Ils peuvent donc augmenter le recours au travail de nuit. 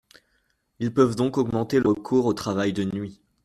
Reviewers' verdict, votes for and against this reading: rejected, 0, 2